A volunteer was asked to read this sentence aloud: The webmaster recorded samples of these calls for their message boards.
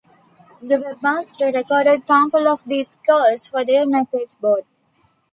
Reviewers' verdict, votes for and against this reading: rejected, 1, 2